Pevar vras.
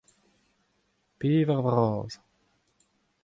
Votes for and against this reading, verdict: 2, 0, accepted